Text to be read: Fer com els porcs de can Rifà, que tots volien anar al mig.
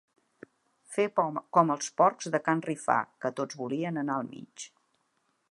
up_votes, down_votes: 2, 1